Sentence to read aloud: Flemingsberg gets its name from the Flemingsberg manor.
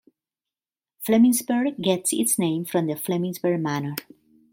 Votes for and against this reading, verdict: 2, 0, accepted